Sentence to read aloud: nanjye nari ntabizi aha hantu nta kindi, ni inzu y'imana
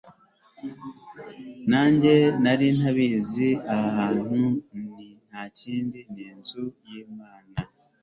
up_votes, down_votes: 3, 0